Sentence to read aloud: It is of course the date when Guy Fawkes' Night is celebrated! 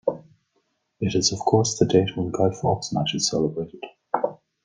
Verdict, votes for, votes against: rejected, 0, 2